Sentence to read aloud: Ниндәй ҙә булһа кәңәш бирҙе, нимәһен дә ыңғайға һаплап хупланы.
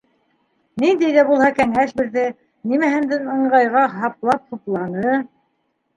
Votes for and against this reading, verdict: 0, 2, rejected